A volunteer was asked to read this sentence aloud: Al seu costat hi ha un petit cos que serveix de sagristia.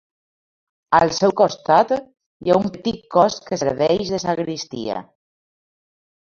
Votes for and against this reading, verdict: 2, 0, accepted